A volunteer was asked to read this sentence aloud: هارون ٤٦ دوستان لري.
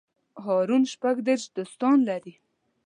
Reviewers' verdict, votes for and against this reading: rejected, 0, 2